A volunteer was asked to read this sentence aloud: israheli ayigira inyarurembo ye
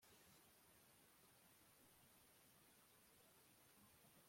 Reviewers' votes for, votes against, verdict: 0, 2, rejected